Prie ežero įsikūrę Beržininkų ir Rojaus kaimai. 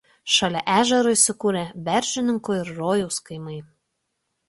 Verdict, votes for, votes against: rejected, 1, 2